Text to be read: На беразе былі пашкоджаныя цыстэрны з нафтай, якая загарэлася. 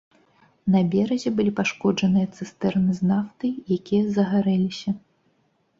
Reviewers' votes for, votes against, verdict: 2, 0, accepted